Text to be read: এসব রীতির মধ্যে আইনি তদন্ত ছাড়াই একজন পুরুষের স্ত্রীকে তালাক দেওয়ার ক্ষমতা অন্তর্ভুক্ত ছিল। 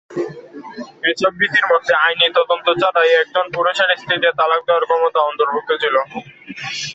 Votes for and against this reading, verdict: 2, 0, accepted